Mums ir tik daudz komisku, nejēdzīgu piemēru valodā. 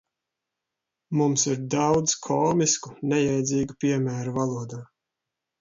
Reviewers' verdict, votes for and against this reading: rejected, 1, 2